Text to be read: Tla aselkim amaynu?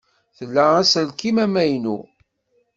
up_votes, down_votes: 2, 0